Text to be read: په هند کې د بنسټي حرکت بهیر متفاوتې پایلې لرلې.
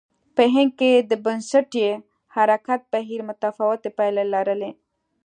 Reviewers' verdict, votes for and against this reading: accepted, 2, 0